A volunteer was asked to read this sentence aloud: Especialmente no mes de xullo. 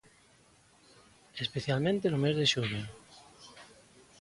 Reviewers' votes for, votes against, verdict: 2, 0, accepted